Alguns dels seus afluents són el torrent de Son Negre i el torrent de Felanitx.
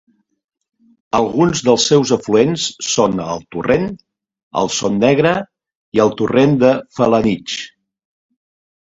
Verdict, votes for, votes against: rejected, 0, 2